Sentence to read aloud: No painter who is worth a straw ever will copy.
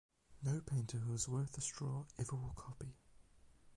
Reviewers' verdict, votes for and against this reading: accepted, 8, 4